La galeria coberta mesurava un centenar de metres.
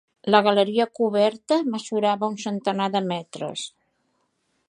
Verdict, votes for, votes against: accepted, 3, 0